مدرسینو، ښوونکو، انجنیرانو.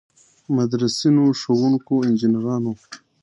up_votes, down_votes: 2, 0